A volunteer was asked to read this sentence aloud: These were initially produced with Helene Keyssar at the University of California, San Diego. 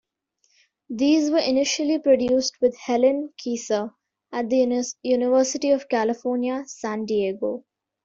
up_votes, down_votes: 2, 1